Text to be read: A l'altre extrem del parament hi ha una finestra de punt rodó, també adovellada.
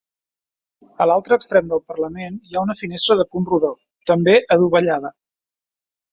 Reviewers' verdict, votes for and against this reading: rejected, 0, 2